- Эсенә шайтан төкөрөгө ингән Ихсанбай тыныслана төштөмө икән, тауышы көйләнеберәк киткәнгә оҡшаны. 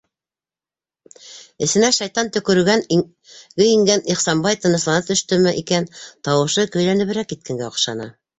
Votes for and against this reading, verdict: 2, 3, rejected